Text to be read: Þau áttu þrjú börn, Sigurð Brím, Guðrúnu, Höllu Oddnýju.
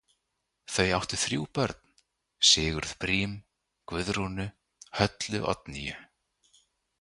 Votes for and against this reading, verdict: 2, 0, accepted